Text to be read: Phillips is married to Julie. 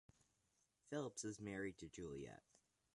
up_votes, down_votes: 0, 2